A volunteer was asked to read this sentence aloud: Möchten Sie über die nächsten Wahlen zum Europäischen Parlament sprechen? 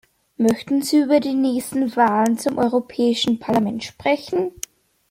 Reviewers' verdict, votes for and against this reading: accepted, 2, 0